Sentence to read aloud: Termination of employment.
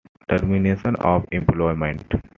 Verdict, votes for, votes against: accepted, 2, 0